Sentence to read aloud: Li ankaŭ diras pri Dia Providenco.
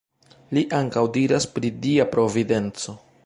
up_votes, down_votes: 2, 0